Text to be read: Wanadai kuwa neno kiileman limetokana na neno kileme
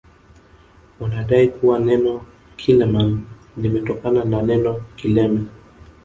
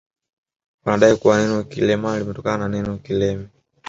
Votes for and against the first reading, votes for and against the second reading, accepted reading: 2, 0, 1, 2, first